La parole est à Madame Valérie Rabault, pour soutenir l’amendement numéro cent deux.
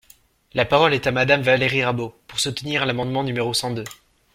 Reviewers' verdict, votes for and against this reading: accepted, 2, 0